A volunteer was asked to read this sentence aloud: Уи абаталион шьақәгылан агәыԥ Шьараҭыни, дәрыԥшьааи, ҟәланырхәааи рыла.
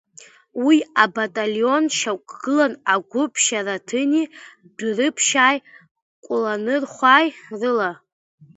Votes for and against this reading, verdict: 0, 2, rejected